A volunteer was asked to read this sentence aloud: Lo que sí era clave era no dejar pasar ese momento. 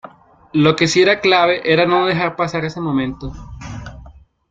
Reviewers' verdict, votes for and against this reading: accepted, 2, 0